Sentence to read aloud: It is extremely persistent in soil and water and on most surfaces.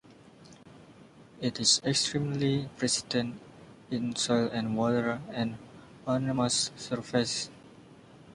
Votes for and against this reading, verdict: 0, 2, rejected